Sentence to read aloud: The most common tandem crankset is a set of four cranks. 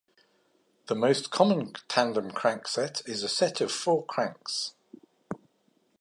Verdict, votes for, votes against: accepted, 2, 0